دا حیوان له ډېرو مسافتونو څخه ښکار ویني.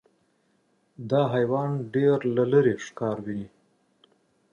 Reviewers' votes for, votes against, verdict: 1, 2, rejected